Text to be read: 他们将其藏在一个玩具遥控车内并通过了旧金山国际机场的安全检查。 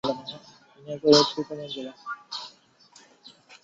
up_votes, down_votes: 2, 0